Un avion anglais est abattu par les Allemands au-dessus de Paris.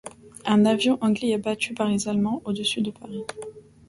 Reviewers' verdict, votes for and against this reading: rejected, 0, 2